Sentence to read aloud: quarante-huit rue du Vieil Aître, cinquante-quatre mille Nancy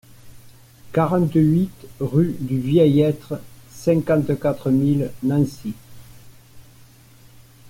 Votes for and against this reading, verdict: 2, 0, accepted